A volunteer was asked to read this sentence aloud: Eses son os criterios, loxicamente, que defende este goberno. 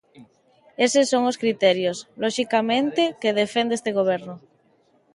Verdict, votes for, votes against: accepted, 2, 0